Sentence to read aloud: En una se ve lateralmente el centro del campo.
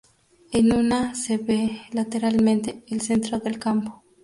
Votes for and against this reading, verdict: 2, 0, accepted